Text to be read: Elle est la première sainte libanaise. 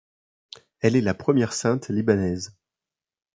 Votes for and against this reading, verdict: 2, 0, accepted